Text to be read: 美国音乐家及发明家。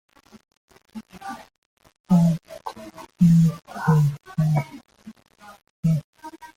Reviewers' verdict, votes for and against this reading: rejected, 0, 2